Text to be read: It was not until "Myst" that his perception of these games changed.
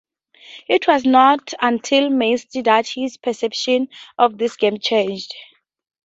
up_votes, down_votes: 4, 0